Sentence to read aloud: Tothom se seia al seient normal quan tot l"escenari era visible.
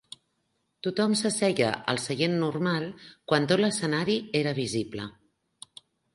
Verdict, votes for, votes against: accepted, 2, 0